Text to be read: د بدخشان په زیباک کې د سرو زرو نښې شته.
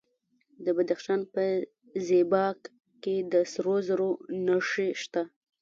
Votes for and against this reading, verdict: 0, 2, rejected